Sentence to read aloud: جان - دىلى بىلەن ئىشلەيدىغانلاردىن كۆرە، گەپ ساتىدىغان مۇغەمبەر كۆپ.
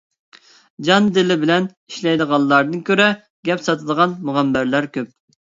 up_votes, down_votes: 0, 2